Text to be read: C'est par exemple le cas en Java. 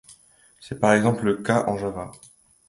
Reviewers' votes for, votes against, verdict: 2, 0, accepted